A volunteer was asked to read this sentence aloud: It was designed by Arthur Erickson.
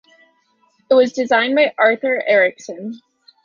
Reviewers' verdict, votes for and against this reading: accepted, 3, 0